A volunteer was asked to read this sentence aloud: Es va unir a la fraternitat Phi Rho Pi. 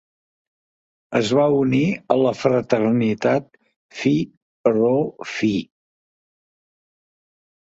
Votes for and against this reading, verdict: 0, 2, rejected